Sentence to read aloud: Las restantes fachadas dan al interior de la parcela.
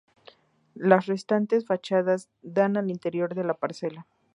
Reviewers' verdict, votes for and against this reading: accepted, 4, 0